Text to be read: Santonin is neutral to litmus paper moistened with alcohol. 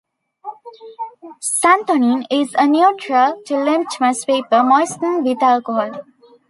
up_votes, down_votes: 0, 2